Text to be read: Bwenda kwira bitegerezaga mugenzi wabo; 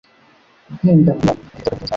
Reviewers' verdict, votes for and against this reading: rejected, 1, 2